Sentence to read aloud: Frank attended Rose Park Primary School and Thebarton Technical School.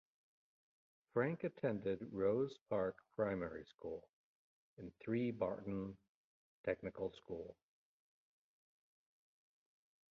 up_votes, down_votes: 1, 2